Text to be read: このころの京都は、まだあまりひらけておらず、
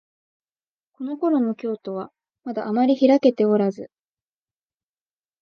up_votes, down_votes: 2, 0